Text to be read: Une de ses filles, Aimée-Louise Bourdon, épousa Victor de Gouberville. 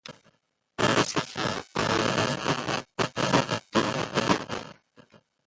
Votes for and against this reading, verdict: 0, 2, rejected